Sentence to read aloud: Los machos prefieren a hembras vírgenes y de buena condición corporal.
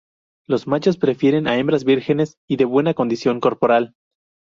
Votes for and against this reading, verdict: 0, 2, rejected